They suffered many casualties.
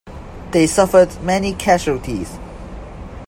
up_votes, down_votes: 2, 1